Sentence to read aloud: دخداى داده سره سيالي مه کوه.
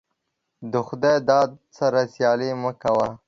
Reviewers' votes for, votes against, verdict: 1, 2, rejected